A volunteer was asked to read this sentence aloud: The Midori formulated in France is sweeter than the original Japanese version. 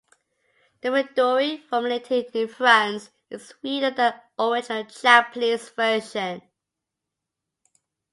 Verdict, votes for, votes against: accepted, 2, 1